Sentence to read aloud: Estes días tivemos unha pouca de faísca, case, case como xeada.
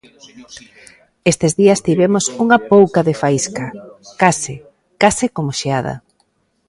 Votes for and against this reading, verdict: 2, 1, accepted